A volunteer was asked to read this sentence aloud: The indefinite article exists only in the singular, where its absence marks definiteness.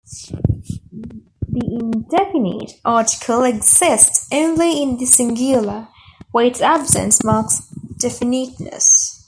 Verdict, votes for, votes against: rejected, 0, 2